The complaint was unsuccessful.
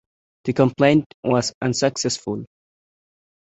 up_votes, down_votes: 2, 0